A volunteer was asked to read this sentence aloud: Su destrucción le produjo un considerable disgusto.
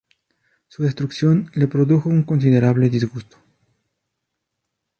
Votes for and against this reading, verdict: 2, 0, accepted